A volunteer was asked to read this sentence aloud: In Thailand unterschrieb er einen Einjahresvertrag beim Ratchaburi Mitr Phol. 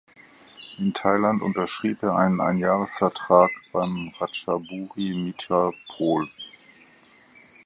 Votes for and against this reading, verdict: 0, 4, rejected